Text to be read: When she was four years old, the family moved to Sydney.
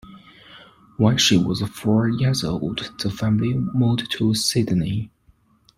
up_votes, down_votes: 1, 2